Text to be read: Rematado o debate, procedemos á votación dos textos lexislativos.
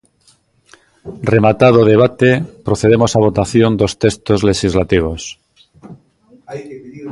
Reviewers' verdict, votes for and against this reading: rejected, 0, 2